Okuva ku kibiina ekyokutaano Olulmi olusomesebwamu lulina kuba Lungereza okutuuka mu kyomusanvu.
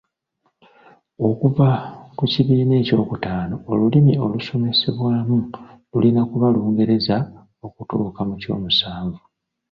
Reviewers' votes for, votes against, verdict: 1, 2, rejected